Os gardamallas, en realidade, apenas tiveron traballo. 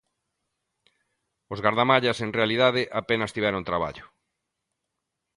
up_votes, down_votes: 2, 0